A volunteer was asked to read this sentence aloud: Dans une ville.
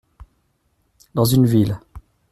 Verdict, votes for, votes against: accepted, 2, 0